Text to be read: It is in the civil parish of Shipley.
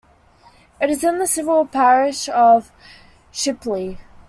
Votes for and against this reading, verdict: 2, 0, accepted